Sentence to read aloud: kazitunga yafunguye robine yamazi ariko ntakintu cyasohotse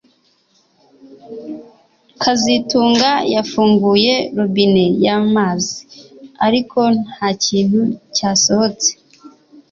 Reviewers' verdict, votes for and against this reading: accepted, 2, 0